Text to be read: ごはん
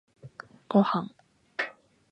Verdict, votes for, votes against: accepted, 2, 0